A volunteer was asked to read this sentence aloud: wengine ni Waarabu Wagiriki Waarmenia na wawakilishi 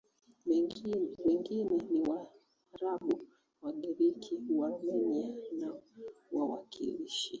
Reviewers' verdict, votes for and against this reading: rejected, 0, 2